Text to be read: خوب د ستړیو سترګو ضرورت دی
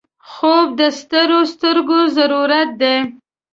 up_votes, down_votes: 0, 2